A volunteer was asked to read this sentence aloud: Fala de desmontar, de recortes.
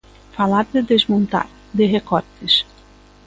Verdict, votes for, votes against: rejected, 1, 2